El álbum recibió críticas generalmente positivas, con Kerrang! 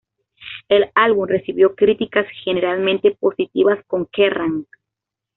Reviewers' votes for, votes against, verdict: 2, 0, accepted